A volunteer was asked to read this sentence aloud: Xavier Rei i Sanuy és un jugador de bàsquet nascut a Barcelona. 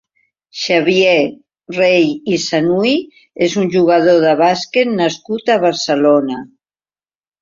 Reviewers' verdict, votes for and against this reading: accepted, 2, 0